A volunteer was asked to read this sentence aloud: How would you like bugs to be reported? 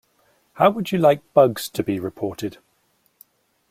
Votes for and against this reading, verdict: 2, 0, accepted